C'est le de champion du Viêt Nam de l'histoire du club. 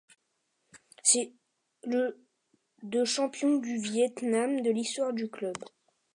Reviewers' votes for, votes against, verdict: 2, 0, accepted